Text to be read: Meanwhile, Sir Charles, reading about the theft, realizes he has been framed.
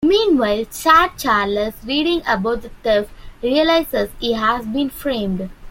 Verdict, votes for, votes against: rejected, 0, 2